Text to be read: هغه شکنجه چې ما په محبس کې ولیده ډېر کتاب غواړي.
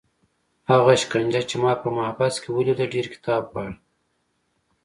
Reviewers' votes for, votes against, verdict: 2, 1, accepted